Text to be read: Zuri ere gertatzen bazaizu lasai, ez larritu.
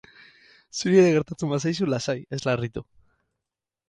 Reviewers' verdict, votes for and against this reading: rejected, 2, 2